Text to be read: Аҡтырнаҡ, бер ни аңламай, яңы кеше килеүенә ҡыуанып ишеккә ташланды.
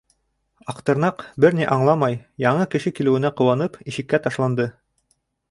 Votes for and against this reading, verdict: 2, 0, accepted